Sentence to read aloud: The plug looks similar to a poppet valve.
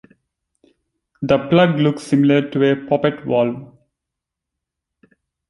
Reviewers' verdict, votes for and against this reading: rejected, 1, 2